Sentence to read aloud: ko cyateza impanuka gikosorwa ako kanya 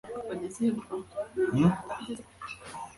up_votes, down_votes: 2, 4